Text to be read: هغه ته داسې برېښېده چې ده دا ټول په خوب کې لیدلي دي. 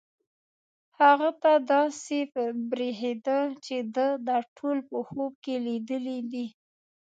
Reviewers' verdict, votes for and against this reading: rejected, 1, 2